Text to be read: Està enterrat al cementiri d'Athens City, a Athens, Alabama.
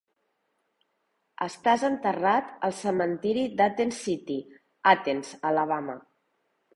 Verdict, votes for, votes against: rejected, 0, 2